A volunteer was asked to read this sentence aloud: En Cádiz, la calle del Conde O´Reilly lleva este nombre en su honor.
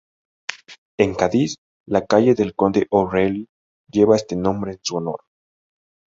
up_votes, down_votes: 2, 0